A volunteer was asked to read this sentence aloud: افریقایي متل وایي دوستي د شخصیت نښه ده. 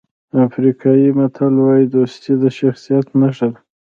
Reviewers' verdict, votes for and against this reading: rejected, 1, 2